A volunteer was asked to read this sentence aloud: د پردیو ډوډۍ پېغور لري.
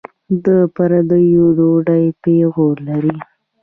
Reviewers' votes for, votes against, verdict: 2, 0, accepted